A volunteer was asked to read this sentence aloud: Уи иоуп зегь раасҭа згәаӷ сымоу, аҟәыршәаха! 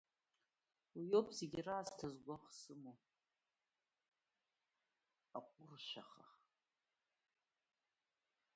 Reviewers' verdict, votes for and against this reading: rejected, 0, 2